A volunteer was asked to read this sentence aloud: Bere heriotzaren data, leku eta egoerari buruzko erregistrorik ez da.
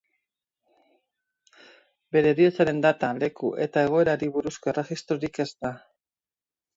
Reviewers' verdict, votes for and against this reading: accepted, 2, 0